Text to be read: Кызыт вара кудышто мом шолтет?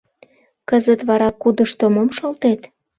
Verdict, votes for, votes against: accepted, 2, 0